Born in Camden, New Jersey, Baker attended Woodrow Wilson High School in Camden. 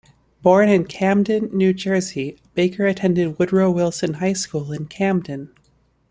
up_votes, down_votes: 2, 0